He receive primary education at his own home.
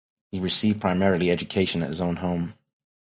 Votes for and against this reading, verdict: 0, 2, rejected